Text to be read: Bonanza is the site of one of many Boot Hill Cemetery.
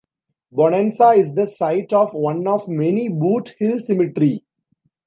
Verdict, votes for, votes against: accepted, 2, 0